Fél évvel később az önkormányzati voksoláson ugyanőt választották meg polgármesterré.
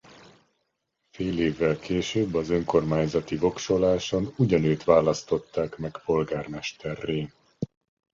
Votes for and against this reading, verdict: 2, 0, accepted